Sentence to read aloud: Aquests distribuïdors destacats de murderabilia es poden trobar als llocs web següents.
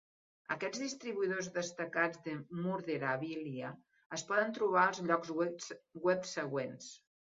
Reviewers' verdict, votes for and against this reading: rejected, 0, 4